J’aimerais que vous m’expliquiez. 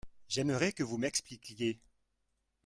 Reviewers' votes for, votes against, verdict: 2, 1, accepted